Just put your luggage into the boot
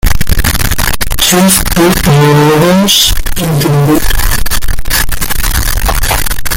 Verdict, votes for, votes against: rejected, 0, 2